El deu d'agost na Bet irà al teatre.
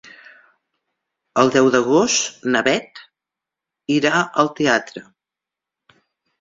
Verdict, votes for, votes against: accepted, 2, 0